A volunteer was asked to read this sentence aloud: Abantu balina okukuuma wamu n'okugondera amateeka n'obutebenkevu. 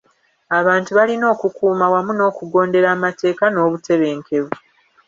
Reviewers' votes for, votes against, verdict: 2, 0, accepted